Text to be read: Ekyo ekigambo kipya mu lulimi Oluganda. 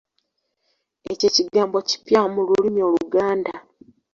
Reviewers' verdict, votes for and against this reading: accepted, 2, 0